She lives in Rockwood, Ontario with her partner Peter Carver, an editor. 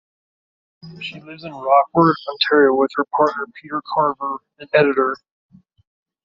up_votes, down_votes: 2, 1